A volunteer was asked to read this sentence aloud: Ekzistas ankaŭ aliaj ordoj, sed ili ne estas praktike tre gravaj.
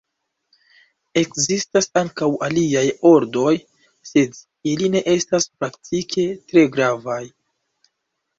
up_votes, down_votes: 2, 0